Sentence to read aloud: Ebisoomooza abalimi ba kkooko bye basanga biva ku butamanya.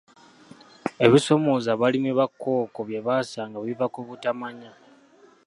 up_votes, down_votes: 2, 1